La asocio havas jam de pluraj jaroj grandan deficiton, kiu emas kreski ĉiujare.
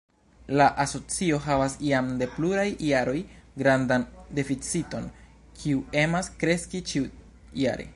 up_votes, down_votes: 1, 2